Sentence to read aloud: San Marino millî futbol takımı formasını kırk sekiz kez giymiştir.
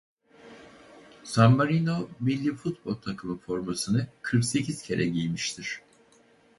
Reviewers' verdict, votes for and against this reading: rejected, 0, 2